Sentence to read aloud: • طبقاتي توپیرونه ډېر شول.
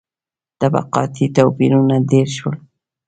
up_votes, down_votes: 2, 0